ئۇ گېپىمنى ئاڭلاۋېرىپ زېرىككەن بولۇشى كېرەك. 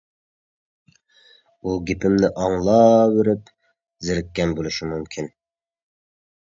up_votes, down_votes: 0, 2